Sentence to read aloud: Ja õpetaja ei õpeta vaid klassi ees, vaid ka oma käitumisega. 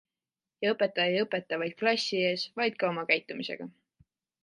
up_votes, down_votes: 2, 0